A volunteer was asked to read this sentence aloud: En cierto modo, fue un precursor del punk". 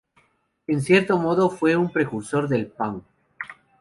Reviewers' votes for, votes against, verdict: 2, 0, accepted